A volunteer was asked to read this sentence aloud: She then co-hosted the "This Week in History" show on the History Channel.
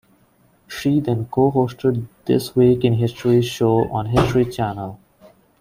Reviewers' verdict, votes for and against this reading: rejected, 0, 2